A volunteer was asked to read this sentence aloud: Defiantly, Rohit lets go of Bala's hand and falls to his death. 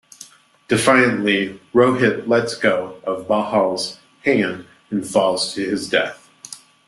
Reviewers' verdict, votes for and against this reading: rejected, 0, 2